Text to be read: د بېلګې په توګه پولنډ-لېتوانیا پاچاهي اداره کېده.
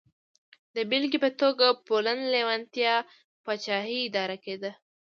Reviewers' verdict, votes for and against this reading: rejected, 1, 2